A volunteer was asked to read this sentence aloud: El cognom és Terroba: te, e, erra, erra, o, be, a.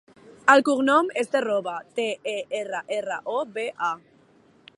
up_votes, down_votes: 2, 0